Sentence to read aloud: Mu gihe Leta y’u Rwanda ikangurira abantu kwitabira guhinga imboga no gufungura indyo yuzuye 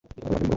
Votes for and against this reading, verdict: 1, 2, rejected